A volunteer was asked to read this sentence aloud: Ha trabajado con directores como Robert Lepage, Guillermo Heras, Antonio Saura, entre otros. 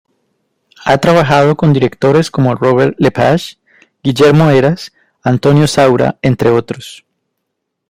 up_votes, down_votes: 2, 0